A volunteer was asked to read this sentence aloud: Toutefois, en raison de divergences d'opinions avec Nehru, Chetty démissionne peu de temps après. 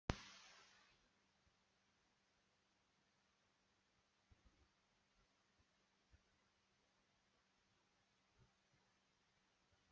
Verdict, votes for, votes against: rejected, 0, 2